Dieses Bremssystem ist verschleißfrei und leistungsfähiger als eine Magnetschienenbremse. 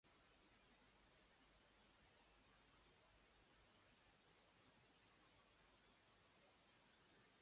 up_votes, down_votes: 0, 2